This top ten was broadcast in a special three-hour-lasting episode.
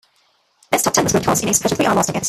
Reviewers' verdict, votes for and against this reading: rejected, 0, 2